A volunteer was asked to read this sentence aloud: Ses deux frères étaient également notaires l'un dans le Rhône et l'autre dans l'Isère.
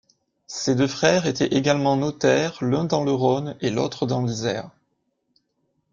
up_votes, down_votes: 1, 2